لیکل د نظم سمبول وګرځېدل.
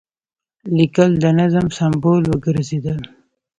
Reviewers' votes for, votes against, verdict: 2, 1, accepted